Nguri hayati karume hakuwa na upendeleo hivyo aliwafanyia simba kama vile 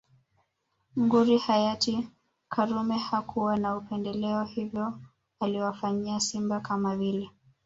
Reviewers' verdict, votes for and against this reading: accepted, 2, 0